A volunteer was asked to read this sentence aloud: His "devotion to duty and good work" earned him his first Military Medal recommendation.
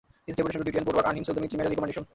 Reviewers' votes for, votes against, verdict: 0, 2, rejected